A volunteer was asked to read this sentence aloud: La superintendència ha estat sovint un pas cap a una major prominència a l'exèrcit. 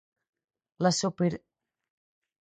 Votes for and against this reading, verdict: 0, 4, rejected